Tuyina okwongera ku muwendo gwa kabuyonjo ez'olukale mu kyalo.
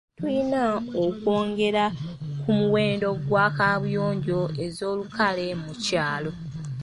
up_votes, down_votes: 2, 0